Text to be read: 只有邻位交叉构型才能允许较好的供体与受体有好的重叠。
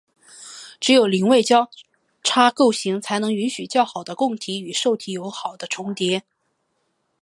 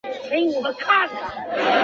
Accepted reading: first